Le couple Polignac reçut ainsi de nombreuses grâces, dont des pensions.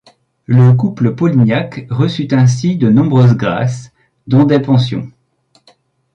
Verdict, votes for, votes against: accepted, 2, 0